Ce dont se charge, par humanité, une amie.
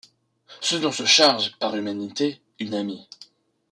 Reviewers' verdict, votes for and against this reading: accepted, 2, 0